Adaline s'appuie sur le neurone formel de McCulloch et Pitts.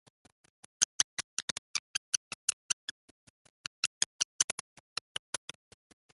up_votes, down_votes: 0, 3